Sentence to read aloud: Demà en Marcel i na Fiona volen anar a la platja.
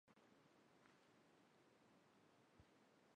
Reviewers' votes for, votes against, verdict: 1, 2, rejected